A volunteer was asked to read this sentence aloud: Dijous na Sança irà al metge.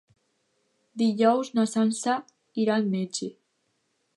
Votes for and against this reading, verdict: 2, 0, accepted